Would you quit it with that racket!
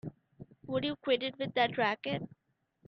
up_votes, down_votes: 2, 0